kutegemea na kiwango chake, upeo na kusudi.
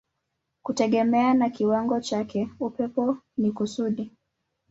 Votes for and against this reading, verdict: 1, 4, rejected